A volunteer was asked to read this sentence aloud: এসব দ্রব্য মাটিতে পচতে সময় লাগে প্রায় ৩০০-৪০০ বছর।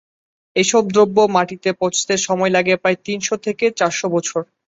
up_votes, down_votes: 0, 2